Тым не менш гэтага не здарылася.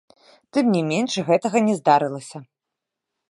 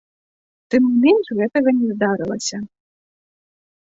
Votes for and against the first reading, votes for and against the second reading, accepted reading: 0, 2, 2, 0, second